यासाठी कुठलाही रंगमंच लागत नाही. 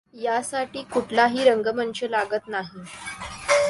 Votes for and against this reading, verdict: 2, 0, accepted